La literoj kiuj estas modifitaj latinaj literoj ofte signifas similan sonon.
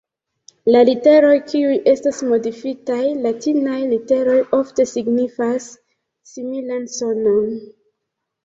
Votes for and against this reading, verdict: 1, 2, rejected